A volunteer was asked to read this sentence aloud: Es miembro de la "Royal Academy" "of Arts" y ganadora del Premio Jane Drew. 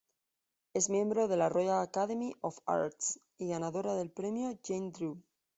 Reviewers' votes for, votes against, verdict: 2, 0, accepted